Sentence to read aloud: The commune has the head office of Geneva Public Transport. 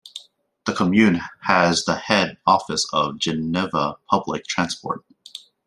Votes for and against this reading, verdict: 0, 2, rejected